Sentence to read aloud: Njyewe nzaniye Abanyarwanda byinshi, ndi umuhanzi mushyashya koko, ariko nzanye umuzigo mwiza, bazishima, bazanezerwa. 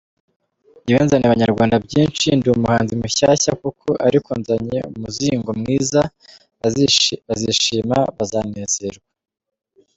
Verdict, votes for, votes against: rejected, 1, 2